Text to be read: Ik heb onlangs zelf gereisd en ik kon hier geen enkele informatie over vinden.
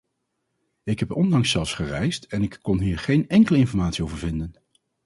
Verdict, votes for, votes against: rejected, 0, 4